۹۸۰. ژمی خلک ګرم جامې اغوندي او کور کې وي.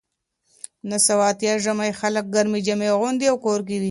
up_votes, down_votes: 0, 2